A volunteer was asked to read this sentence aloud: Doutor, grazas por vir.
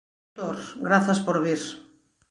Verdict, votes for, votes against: rejected, 0, 2